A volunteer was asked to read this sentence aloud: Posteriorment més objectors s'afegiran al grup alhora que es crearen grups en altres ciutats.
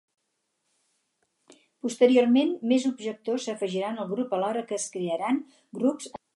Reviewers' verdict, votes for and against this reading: rejected, 2, 4